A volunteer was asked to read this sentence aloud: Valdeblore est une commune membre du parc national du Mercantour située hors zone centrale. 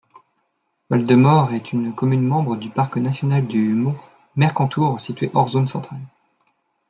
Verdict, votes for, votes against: rejected, 1, 2